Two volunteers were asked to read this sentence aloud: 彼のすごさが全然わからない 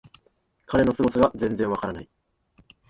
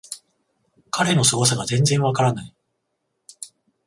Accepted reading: second